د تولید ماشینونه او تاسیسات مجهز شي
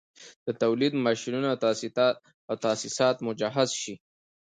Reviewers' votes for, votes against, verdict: 2, 0, accepted